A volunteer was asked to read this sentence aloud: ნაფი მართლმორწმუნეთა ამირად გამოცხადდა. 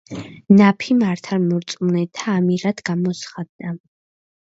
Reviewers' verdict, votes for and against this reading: rejected, 0, 2